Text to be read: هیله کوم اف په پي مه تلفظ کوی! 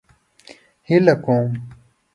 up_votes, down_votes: 1, 2